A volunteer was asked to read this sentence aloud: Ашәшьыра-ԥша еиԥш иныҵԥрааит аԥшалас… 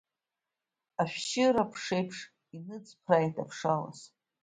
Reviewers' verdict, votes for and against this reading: rejected, 1, 2